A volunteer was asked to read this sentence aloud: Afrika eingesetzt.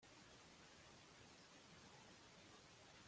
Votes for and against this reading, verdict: 0, 2, rejected